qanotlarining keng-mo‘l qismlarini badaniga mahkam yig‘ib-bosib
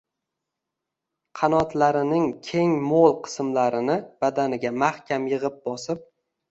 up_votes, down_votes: 2, 0